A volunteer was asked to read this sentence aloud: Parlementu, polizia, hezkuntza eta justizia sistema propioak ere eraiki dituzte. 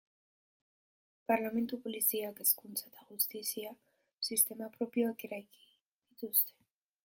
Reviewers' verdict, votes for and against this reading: rejected, 1, 2